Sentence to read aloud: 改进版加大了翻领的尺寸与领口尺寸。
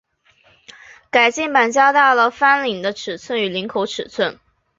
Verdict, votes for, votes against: accepted, 2, 0